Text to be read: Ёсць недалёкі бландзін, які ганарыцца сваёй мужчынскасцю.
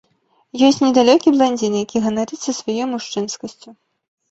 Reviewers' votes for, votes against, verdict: 2, 1, accepted